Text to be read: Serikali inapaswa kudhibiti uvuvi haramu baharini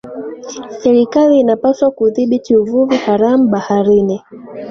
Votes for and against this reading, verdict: 0, 2, rejected